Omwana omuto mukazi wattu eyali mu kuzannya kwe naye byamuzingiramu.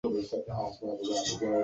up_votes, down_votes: 0, 2